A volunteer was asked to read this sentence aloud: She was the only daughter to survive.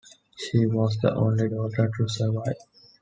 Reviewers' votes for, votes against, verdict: 2, 0, accepted